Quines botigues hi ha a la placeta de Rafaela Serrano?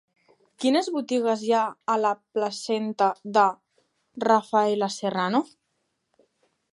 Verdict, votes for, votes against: rejected, 0, 2